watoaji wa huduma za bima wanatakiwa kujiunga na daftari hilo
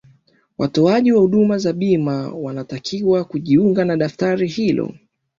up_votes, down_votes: 2, 0